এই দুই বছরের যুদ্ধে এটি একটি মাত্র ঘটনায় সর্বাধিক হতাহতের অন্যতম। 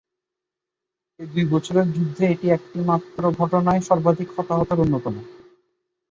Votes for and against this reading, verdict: 1, 2, rejected